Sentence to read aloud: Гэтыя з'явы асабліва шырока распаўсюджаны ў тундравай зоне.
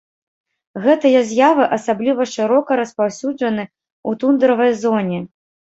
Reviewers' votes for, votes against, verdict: 1, 2, rejected